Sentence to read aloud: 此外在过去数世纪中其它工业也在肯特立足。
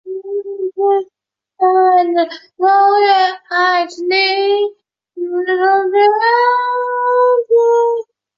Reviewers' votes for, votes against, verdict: 0, 2, rejected